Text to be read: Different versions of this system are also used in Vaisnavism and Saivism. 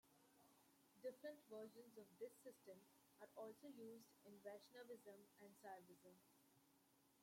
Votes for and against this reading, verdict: 0, 2, rejected